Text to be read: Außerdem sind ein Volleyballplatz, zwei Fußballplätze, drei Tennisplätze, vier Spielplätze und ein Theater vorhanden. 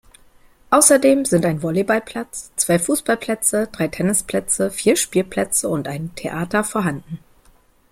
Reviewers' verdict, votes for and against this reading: accepted, 2, 0